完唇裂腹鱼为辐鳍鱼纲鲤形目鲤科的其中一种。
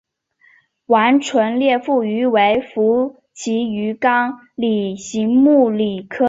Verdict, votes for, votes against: rejected, 0, 2